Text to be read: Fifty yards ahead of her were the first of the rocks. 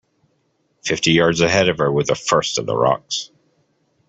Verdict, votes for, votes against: accepted, 2, 0